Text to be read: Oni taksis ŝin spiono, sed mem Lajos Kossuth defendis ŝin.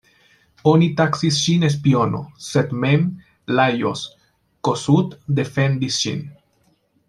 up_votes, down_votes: 2, 1